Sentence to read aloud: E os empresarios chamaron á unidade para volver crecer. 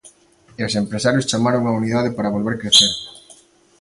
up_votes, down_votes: 2, 0